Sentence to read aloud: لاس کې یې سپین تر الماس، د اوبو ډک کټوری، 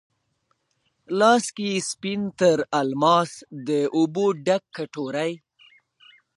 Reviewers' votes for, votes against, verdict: 0, 2, rejected